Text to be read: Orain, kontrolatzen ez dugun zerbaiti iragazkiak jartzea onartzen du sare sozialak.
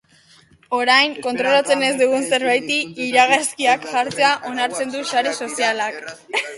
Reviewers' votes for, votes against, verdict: 0, 2, rejected